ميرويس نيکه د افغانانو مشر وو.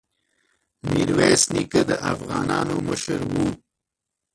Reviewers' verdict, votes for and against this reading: rejected, 0, 2